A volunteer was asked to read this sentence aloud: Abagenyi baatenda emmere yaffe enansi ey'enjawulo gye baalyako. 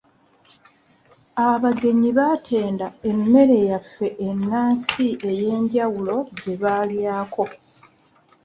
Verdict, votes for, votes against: accepted, 2, 0